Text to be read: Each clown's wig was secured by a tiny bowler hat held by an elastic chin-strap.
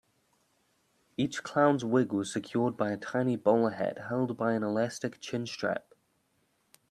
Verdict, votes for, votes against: accepted, 2, 0